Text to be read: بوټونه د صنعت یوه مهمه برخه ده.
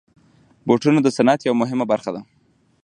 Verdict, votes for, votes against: rejected, 2, 3